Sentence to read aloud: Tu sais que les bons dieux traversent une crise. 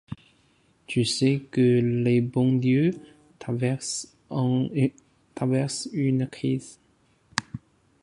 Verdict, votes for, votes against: rejected, 0, 2